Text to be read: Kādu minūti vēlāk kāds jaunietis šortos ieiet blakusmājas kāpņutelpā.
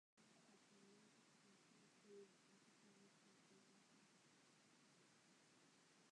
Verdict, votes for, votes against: rejected, 1, 2